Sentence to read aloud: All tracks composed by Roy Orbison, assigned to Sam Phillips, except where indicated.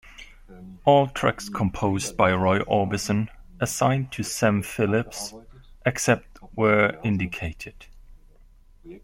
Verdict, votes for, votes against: accepted, 2, 0